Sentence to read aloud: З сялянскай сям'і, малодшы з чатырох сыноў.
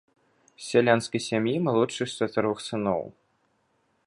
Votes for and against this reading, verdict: 4, 0, accepted